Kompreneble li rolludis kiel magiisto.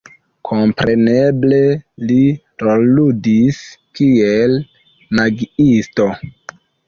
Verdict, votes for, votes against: accepted, 2, 1